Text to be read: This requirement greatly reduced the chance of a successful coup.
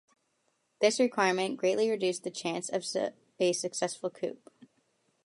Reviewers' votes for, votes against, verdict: 0, 2, rejected